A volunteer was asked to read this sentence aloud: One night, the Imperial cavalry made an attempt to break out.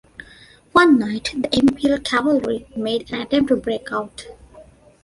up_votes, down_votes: 1, 2